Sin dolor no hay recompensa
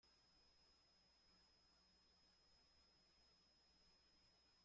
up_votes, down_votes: 0, 2